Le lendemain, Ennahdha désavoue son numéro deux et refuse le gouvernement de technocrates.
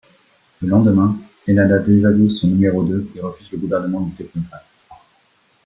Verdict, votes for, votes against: rejected, 1, 2